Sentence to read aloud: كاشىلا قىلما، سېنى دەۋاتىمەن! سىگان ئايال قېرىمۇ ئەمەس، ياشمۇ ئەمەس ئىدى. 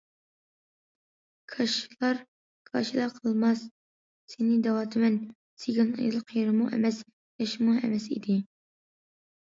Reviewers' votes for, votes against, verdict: 0, 2, rejected